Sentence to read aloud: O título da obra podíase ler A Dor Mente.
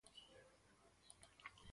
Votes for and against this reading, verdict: 0, 4, rejected